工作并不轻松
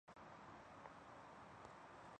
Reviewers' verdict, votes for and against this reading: rejected, 0, 2